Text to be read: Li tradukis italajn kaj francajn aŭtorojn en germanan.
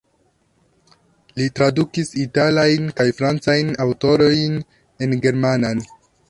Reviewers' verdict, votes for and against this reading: rejected, 1, 2